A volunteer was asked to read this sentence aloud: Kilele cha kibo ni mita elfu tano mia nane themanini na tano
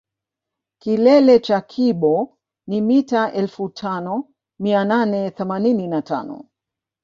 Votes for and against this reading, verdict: 1, 2, rejected